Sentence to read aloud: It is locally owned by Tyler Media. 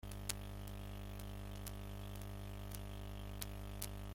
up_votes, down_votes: 0, 2